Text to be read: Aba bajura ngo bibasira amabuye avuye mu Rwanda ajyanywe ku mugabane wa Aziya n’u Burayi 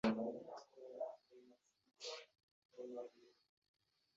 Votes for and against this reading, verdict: 0, 2, rejected